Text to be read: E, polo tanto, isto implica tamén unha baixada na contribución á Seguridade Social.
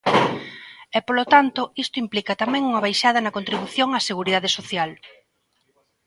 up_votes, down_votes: 2, 1